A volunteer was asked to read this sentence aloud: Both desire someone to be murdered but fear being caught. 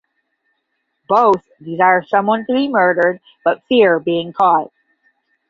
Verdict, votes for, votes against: accepted, 15, 0